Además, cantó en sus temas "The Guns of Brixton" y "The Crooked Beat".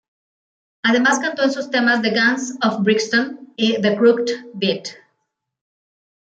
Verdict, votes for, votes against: rejected, 1, 2